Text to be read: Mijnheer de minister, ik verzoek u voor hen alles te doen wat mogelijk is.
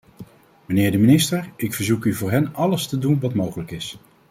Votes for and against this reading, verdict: 2, 0, accepted